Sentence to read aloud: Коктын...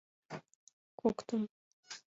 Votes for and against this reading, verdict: 2, 0, accepted